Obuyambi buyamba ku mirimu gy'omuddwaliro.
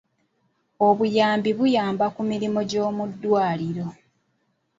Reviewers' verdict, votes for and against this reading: accepted, 2, 0